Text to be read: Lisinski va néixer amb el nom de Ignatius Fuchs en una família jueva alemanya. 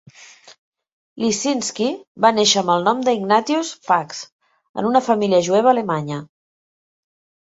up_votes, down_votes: 2, 0